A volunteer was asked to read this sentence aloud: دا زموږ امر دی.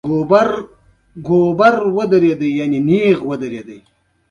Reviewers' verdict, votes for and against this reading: rejected, 1, 2